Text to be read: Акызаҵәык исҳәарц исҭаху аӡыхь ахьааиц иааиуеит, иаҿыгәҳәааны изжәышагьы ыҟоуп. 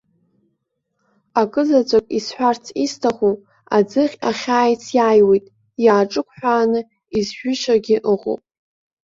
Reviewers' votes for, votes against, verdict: 2, 0, accepted